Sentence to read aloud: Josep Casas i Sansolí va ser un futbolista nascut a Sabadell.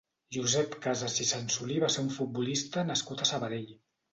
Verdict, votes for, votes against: accepted, 2, 0